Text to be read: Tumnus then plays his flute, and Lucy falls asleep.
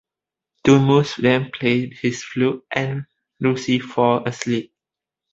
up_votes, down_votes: 0, 2